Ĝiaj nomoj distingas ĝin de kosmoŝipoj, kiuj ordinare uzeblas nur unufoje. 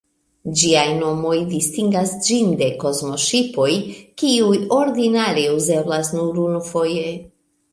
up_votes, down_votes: 2, 0